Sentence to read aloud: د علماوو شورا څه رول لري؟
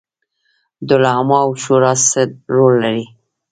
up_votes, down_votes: 0, 2